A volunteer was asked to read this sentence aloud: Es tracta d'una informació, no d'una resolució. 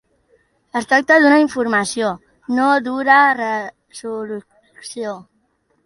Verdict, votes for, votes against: rejected, 1, 3